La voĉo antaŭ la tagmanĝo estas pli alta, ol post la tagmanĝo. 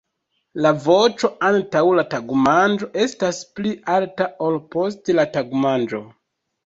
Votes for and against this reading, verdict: 1, 2, rejected